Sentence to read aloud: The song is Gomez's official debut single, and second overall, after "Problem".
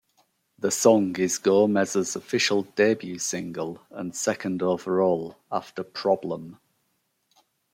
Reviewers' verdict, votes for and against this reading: accepted, 2, 0